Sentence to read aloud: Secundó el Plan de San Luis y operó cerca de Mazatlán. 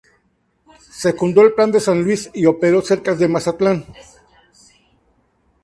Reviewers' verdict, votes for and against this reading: rejected, 2, 2